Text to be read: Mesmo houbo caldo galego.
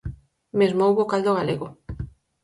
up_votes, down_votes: 4, 0